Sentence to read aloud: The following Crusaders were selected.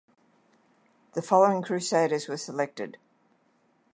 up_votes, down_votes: 2, 0